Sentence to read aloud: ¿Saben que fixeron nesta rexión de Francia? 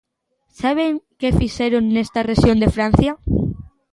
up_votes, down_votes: 2, 0